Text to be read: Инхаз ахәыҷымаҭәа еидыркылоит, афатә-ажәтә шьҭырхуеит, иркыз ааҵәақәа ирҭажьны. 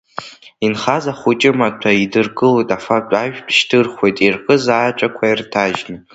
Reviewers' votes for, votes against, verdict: 2, 0, accepted